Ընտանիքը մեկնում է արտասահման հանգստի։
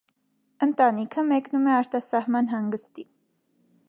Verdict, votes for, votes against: accepted, 2, 0